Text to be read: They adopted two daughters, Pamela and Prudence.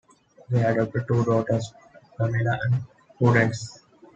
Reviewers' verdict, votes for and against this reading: accepted, 2, 1